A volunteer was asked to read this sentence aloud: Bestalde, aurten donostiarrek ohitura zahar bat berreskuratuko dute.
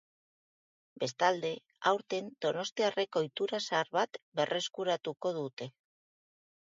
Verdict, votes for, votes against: accepted, 2, 0